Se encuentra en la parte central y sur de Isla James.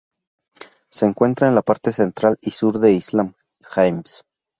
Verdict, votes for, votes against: rejected, 2, 2